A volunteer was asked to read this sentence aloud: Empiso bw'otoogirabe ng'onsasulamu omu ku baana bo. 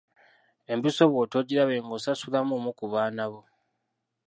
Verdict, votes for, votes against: accepted, 2, 1